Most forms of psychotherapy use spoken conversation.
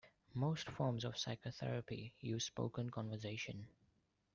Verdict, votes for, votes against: accepted, 2, 1